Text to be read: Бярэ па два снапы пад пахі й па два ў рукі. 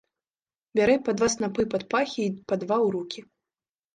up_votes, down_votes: 2, 0